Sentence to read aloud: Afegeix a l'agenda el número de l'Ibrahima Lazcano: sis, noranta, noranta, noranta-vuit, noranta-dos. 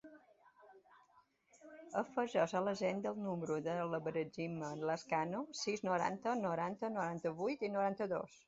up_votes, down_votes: 0, 2